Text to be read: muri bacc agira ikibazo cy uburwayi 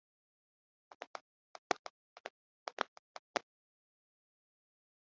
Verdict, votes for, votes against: rejected, 0, 2